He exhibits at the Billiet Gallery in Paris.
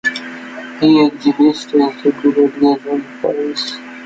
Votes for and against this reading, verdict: 0, 2, rejected